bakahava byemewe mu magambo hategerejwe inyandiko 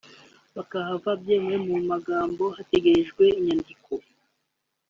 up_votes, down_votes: 1, 2